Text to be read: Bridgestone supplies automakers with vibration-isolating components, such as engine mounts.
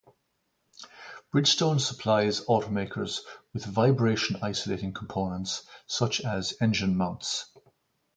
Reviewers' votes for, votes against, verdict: 2, 2, rejected